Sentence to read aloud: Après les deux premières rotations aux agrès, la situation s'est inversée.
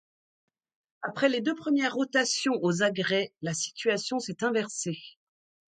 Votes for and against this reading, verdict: 2, 0, accepted